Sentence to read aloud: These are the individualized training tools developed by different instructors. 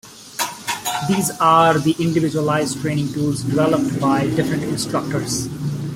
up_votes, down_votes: 1, 2